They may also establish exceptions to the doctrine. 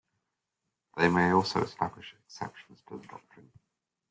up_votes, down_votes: 2, 0